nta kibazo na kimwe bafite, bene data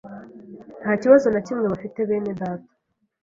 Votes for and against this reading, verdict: 2, 0, accepted